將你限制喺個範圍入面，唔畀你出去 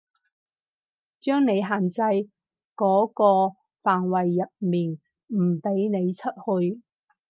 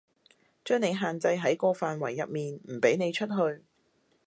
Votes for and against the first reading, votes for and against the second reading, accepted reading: 0, 4, 2, 0, second